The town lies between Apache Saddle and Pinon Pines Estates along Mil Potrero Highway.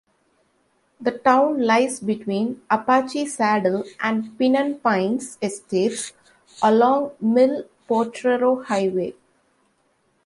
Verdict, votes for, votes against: rejected, 0, 2